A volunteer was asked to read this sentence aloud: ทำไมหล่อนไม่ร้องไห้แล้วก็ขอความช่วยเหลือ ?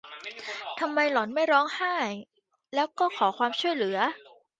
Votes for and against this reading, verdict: 2, 1, accepted